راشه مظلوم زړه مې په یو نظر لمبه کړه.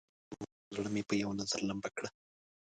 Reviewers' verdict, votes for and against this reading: rejected, 1, 2